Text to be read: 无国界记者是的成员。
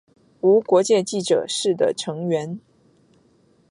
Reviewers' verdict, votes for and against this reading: accepted, 2, 0